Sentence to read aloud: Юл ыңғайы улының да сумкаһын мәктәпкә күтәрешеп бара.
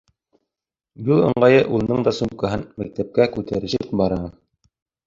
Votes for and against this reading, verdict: 2, 0, accepted